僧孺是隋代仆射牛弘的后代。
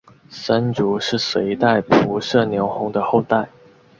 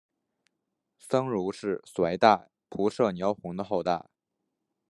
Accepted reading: second